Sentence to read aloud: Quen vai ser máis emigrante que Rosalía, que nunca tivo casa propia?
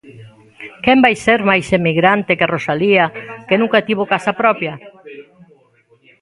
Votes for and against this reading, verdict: 1, 2, rejected